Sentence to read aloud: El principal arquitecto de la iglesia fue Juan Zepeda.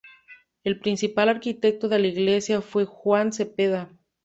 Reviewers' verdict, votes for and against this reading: accepted, 2, 0